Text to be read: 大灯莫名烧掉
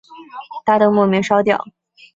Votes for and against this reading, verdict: 3, 0, accepted